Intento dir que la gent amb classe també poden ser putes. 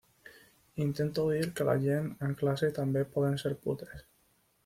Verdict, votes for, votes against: rejected, 1, 2